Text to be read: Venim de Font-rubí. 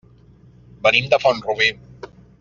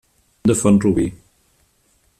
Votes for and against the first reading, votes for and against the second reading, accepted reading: 2, 0, 0, 2, first